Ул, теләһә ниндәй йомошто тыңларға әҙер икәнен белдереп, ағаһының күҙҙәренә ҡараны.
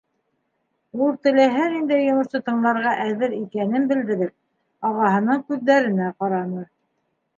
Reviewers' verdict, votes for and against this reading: accepted, 2, 0